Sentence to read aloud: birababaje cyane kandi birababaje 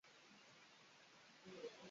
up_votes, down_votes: 0, 2